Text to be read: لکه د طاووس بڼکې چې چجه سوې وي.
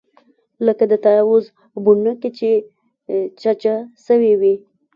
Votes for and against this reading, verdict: 2, 0, accepted